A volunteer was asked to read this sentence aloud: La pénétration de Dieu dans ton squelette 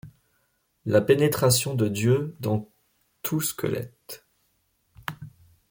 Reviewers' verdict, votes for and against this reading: rejected, 0, 2